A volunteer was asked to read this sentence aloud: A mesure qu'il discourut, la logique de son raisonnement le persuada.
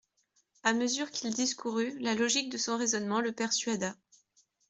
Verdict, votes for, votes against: accepted, 2, 0